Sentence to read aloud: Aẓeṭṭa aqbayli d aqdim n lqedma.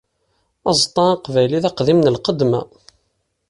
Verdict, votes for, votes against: accepted, 2, 1